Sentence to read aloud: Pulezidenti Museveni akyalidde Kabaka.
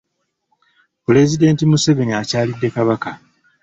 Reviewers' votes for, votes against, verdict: 2, 0, accepted